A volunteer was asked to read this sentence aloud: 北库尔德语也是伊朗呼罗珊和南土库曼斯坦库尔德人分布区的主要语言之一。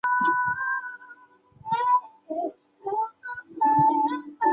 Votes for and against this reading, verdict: 0, 3, rejected